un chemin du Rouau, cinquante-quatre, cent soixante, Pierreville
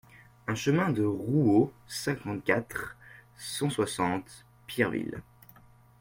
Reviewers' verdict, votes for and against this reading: rejected, 0, 2